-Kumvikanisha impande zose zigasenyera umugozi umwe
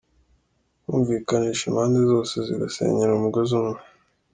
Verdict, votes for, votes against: accepted, 2, 0